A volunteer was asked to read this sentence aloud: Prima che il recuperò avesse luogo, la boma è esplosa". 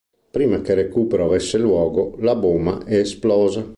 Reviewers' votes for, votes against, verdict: 0, 2, rejected